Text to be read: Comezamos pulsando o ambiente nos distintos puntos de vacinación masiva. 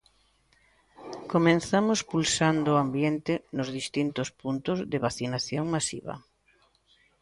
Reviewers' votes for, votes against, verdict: 0, 2, rejected